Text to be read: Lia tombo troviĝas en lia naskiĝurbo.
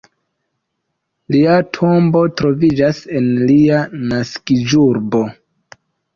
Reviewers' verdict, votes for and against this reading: accepted, 2, 0